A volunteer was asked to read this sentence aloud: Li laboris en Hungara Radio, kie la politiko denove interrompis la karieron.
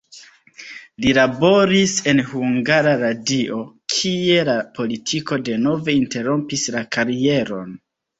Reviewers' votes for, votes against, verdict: 2, 0, accepted